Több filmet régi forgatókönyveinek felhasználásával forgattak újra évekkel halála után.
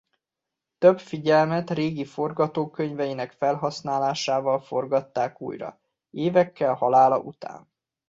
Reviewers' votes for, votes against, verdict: 2, 1, accepted